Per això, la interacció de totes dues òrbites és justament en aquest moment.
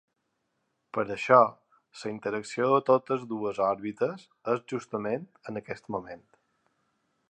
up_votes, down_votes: 2, 1